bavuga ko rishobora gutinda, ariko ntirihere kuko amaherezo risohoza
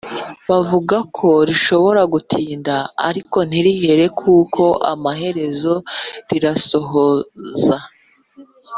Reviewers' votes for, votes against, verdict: 2, 3, rejected